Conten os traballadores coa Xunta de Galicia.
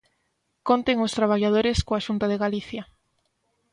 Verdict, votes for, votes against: accepted, 2, 0